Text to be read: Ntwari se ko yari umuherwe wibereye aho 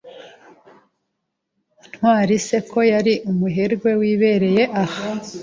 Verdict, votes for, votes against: rejected, 1, 2